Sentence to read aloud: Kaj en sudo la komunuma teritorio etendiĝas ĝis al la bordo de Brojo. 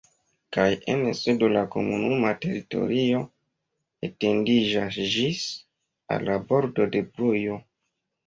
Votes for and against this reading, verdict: 1, 2, rejected